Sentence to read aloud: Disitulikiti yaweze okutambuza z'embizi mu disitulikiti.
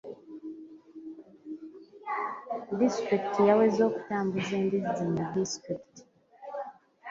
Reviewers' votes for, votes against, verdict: 1, 2, rejected